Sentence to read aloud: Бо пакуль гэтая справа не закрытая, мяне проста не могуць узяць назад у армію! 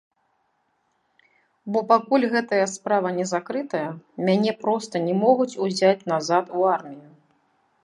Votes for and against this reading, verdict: 1, 2, rejected